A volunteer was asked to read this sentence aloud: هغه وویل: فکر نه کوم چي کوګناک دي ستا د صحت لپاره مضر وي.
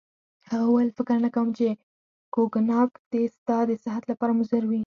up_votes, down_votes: 0, 4